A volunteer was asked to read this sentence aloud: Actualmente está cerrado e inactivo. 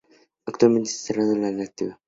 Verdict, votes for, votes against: rejected, 0, 2